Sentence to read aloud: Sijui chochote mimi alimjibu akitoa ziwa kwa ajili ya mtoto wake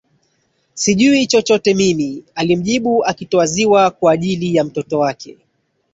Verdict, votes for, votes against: accepted, 19, 2